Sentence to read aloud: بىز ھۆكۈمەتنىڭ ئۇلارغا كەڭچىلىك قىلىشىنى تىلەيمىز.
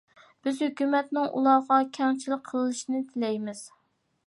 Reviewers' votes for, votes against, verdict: 2, 0, accepted